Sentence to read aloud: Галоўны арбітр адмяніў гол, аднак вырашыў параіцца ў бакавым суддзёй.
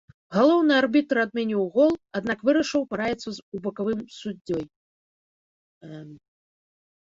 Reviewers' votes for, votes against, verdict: 1, 2, rejected